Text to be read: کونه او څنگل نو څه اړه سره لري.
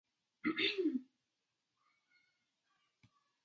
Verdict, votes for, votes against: rejected, 0, 2